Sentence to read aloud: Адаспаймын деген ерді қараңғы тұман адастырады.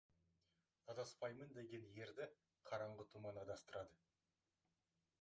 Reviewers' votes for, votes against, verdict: 1, 2, rejected